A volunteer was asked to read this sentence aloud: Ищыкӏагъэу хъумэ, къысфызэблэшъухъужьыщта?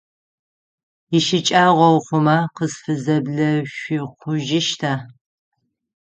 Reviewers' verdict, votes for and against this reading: rejected, 3, 6